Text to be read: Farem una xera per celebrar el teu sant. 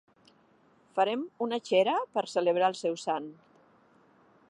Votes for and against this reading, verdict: 1, 2, rejected